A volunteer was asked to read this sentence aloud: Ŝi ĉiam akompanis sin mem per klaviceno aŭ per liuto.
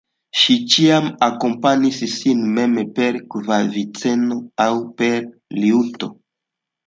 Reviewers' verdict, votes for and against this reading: accepted, 2, 0